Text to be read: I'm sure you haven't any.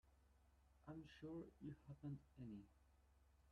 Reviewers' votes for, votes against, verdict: 0, 2, rejected